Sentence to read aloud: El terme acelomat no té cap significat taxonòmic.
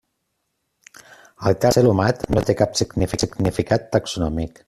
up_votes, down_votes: 0, 2